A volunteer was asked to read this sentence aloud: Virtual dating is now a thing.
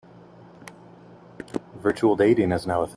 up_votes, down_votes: 0, 2